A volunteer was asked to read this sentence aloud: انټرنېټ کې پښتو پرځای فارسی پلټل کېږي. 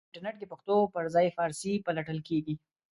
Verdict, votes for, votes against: rejected, 1, 2